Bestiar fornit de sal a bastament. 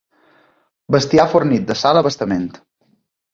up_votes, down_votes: 2, 0